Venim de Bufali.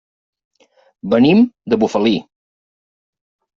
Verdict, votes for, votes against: rejected, 1, 2